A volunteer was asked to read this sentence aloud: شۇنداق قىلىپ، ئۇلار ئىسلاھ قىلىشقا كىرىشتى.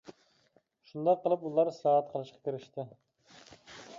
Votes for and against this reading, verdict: 0, 2, rejected